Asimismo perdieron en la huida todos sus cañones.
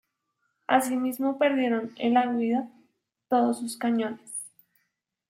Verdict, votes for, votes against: accepted, 2, 0